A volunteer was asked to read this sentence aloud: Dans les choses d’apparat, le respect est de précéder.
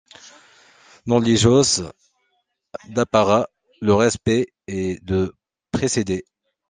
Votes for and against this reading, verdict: 1, 2, rejected